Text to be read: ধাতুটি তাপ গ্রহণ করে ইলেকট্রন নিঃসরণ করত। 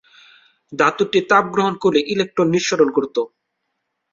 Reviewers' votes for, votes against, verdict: 7, 0, accepted